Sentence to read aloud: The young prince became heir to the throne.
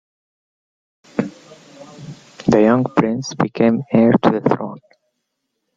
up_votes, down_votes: 0, 2